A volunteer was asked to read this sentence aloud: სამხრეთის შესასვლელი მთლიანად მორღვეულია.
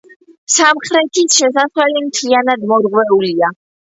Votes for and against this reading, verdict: 1, 2, rejected